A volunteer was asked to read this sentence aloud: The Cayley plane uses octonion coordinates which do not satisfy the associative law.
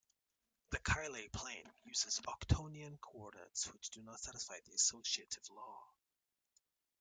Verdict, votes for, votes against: rejected, 1, 2